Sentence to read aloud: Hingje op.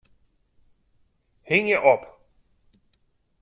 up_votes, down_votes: 2, 0